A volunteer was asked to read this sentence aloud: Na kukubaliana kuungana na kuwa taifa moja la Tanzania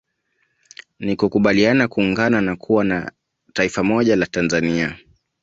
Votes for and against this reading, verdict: 1, 2, rejected